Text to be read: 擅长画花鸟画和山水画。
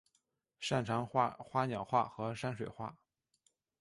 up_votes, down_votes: 2, 1